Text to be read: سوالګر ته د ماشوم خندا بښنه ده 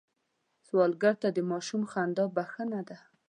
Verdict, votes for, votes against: accepted, 2, 0